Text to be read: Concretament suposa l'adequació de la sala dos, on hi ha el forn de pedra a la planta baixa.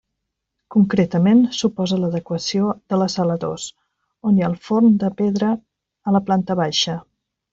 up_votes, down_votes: 1, 2